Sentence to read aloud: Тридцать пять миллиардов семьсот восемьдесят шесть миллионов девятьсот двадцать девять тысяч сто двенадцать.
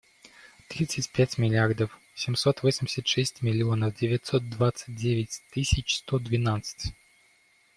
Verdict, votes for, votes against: accepted, 2, 0